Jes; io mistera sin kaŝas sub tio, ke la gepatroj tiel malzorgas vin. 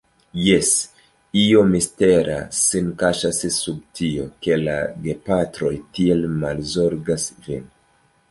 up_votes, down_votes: 1, 2